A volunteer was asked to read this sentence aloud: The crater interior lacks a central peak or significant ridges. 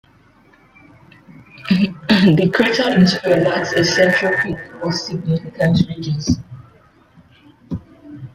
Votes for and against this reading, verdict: 1, 2, rejected